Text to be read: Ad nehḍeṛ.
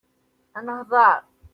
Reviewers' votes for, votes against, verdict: 2, 0, accepted